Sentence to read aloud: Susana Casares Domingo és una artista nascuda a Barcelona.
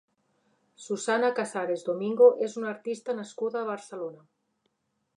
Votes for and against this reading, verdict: 5, 1, accepted